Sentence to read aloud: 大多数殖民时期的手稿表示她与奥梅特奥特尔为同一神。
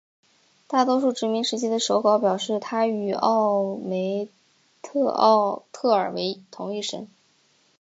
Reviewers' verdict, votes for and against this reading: rejected, 1, 2